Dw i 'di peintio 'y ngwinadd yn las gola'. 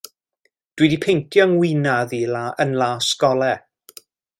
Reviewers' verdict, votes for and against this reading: rejected, 1, 2